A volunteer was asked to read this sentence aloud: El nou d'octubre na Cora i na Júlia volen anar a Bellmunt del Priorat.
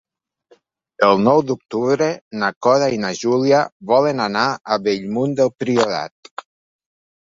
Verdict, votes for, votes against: accepted, 2, 0